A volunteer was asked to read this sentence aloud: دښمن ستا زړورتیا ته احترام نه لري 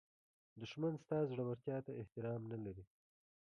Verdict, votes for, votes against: rejected, 1, 2